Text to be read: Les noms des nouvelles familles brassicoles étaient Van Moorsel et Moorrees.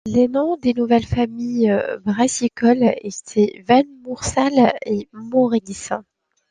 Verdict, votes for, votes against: rejected, 1, 3